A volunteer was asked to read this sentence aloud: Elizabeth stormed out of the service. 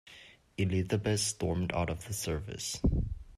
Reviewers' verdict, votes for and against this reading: rejected, 1, 2